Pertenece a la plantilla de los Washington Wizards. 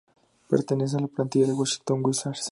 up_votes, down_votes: 0, 2